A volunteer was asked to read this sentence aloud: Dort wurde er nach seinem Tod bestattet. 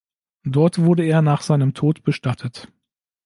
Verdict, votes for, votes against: accepted, 2, 0